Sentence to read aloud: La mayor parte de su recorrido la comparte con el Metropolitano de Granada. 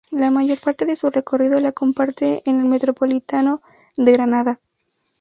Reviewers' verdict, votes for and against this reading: rejected, 0, 2